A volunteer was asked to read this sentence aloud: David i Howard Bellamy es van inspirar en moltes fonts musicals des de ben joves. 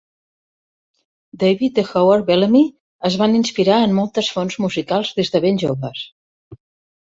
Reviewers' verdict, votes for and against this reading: accepted, 3, 0